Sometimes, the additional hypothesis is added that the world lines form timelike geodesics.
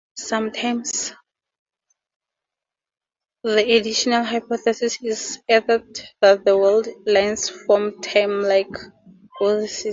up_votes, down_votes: 0, 2